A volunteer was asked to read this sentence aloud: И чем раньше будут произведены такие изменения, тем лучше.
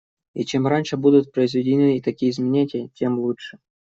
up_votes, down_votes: 0, 2